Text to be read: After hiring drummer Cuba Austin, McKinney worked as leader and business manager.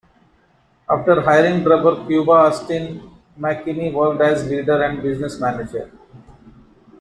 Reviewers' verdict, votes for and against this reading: rejected, 1, 3